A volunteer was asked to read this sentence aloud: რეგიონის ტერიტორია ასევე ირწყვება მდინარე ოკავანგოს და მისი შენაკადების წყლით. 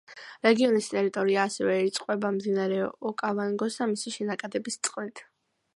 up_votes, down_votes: 2, 0